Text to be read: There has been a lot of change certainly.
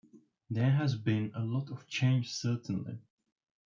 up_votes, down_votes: 2, 1